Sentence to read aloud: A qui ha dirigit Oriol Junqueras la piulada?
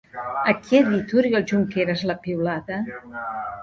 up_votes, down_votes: 1, 2